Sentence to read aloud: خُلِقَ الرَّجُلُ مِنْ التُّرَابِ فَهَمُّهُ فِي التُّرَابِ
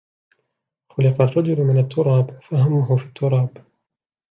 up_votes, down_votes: 0, 2